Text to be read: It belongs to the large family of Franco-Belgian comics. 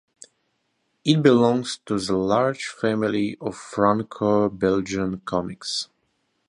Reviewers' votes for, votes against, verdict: 2, 0, accepted